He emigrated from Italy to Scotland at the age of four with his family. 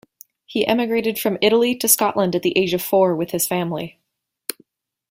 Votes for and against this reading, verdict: 2, 0, accepted